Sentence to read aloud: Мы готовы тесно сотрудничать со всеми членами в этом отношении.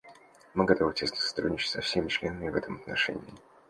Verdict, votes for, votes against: accepted, 2, 0